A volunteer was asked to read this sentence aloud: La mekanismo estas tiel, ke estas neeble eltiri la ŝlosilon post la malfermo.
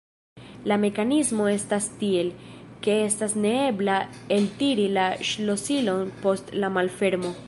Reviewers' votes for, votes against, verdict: 2, 3, rejected